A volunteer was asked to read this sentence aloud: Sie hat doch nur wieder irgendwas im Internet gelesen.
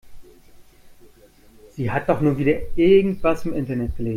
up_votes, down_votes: 0, 2